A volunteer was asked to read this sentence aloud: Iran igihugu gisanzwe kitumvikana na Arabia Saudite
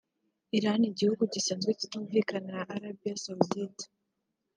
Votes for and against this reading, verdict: 2, 0, accepted